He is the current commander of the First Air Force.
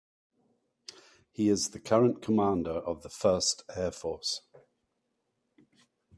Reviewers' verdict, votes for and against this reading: accepted, 4, 0